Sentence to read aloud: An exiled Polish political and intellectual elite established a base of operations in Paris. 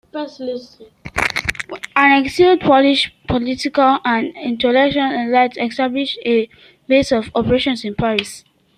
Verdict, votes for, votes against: rejected, 0, 2